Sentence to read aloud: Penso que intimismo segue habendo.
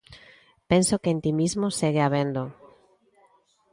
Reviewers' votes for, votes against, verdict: 1, 2, rejected